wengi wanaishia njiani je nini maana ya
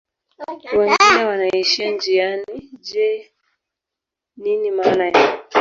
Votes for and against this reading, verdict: 1, 2, rejected